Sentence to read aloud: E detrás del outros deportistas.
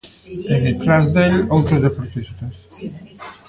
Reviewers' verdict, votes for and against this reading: rejected, 0, 2